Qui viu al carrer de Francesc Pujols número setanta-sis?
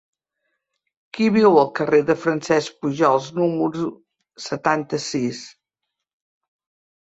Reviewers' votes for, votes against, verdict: 1, 2, rejected